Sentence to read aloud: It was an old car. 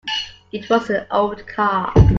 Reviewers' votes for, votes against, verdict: 0, 2, rejected